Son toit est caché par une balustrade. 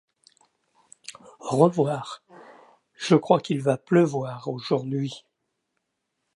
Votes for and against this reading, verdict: 0, 2, rejected